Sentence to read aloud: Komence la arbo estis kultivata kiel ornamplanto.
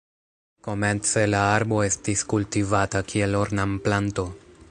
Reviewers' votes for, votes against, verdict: 0, 2, rejected